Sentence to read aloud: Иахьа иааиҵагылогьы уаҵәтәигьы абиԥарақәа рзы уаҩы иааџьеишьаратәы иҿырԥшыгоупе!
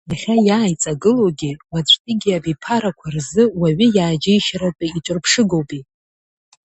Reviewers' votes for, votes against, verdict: 2, 0, accepted